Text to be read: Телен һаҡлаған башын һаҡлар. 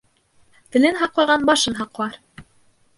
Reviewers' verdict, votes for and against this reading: rejected, 1, 2